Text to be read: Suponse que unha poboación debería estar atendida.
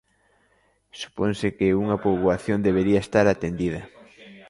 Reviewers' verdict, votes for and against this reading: accepted, 2, 0